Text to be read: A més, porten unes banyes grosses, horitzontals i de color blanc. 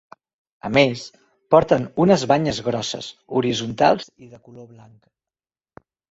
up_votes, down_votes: 1, 2